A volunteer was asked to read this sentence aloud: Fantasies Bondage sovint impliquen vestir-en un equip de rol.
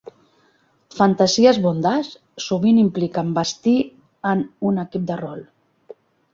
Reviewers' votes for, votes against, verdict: 0, 2, rejected